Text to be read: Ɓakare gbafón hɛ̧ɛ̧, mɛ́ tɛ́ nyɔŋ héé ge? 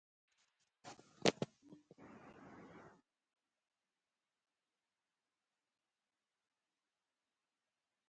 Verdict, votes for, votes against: rejected, 0, 2